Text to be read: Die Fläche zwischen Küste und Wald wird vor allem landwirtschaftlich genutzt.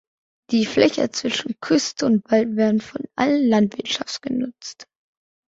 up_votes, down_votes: 0, 2